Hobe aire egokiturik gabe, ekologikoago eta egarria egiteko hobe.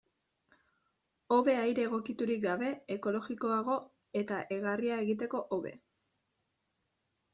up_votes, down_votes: 0, 2